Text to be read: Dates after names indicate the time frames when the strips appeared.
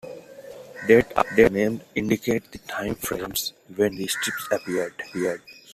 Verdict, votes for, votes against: accepted, 2, 1